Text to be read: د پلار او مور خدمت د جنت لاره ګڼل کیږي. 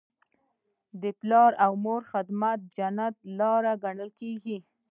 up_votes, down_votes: 1, 2